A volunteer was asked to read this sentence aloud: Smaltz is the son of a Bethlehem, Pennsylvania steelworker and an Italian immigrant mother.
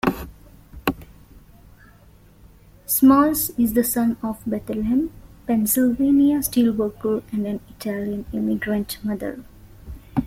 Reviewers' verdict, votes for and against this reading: rejected, 1, 2